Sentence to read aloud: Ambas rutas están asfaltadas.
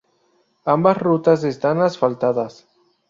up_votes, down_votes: 2, 0